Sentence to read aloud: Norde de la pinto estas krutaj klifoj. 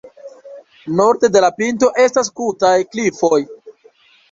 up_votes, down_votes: 1, 2